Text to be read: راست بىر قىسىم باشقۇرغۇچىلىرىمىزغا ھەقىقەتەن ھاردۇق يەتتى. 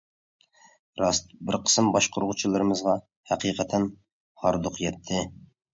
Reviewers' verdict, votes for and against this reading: accepted, 2, 0